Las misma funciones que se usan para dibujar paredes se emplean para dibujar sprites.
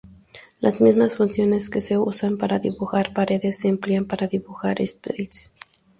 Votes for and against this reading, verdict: 0, 2, rejected